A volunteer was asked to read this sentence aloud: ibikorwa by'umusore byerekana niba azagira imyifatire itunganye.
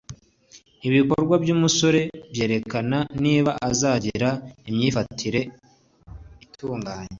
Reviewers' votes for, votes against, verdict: 2, 0, accepted